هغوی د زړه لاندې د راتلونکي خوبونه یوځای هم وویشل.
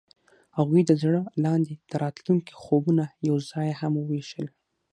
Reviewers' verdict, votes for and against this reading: accepted, 6, 0